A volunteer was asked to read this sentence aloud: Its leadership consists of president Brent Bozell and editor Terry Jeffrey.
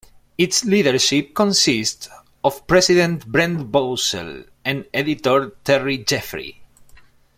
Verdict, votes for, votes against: accepted, 2, 0